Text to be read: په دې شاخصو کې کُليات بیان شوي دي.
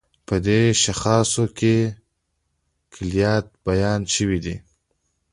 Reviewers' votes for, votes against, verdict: 2, 1, accepted